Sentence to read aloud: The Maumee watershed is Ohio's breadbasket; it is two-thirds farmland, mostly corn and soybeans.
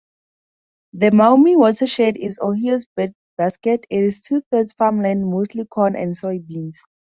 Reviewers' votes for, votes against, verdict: 0, 2, rejected